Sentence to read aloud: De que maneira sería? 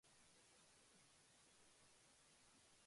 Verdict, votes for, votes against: rejected, 0, 2